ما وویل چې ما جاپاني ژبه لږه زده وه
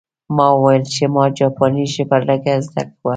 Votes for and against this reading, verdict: 1, 2, rejected